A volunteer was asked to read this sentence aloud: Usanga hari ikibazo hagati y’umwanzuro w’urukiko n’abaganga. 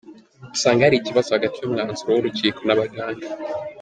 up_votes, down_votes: 0, 2